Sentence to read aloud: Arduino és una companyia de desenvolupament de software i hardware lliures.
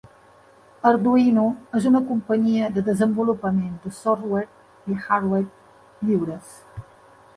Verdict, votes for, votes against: accepted, 2, 0